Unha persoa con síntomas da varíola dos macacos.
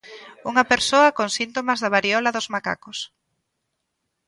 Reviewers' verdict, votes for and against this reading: rejected, 1, 2